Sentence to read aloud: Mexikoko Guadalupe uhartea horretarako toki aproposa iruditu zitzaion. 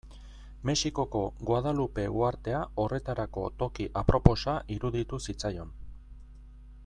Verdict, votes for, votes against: accepted, 2, 0